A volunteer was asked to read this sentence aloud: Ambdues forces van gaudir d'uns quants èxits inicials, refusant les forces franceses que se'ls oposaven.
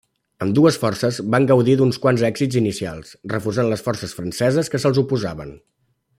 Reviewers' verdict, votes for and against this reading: accepted, 3, 0